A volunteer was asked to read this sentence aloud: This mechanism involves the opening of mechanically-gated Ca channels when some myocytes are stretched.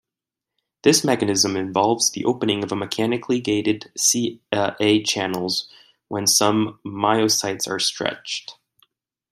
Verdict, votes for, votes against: rejected, 1, 2